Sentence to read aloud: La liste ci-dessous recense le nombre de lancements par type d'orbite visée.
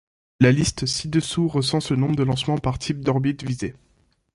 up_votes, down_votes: 2, 0